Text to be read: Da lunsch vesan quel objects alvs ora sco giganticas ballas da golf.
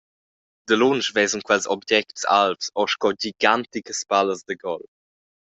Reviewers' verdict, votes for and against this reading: rejected, 1, 2